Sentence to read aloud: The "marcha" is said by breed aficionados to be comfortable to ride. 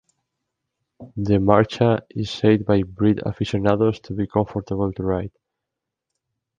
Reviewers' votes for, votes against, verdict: 2, 0, accepted